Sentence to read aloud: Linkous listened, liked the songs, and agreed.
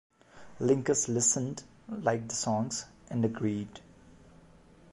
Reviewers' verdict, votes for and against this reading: accepted, 2, 0